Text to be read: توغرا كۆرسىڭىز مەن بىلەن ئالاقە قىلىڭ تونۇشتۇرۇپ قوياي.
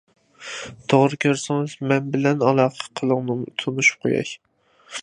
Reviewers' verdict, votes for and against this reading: rejected, 0, 2